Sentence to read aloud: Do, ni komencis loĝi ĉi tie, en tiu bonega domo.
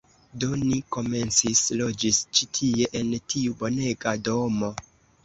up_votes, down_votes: 0, 2